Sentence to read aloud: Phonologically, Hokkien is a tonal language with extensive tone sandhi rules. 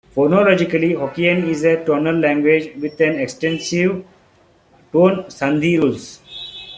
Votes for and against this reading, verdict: 1, 2, rejected